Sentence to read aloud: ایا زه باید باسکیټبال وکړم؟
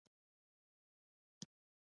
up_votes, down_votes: 0, 2